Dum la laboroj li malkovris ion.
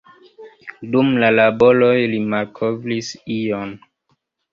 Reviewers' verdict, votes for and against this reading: rejected, 1, 2